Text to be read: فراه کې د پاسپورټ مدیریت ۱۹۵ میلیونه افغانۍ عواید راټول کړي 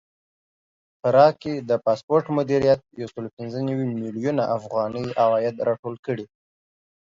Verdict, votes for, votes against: rejected, 0, 2